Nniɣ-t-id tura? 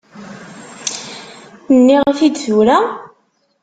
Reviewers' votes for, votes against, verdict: 2, 0, accepted